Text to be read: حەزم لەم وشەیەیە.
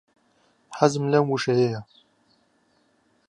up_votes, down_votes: 2, 0